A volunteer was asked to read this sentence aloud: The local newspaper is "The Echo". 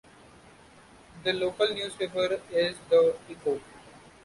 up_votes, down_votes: 1, 2